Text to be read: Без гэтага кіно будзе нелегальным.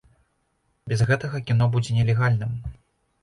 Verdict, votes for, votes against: rejected, 1, 2